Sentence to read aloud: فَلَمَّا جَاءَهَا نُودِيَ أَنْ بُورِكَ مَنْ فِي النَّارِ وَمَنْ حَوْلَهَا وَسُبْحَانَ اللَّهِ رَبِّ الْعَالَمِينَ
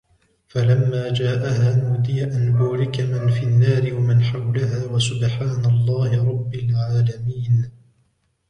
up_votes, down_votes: 1, 2